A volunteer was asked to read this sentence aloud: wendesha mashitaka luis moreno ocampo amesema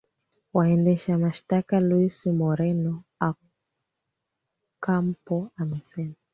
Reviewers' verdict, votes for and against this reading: rejected, 0, 2